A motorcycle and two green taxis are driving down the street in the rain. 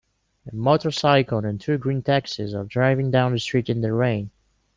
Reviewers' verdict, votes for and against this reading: accepted, 2, 0